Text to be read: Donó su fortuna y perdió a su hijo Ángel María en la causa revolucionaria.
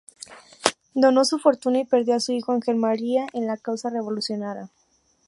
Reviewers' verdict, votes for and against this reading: rejected, 0, 2